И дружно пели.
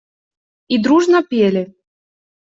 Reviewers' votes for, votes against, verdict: 2, 0, accepted